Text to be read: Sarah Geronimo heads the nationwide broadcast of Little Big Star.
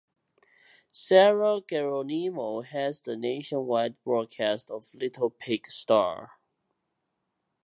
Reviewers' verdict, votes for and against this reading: accepted, 2, 1